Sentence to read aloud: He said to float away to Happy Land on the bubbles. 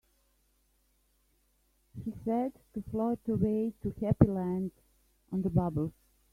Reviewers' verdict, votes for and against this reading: accepted, 2, 1